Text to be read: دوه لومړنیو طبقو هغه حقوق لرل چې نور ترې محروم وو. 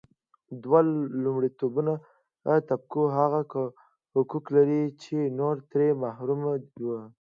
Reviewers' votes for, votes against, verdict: 2, 0, accepted